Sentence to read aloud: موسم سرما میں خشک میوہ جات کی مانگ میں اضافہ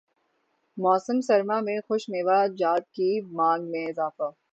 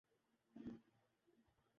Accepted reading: first